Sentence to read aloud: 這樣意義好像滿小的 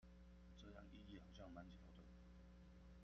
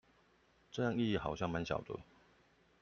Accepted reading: second